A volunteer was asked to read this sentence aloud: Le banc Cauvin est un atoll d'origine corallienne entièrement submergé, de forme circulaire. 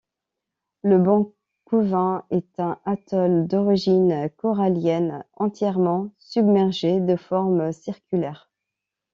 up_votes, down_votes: 2, 0